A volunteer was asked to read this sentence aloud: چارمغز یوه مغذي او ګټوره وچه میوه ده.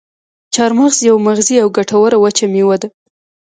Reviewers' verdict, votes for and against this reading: accepted, 2, 0